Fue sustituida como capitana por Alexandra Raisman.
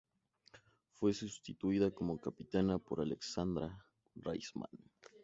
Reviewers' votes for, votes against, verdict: 6, 2, accepted